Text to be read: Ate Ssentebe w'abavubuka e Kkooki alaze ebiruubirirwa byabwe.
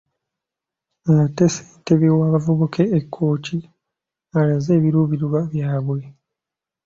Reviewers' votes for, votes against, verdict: 2, 0, accepted